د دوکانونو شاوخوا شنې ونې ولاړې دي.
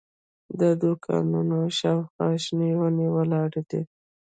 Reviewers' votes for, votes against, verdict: 2, 0, accepted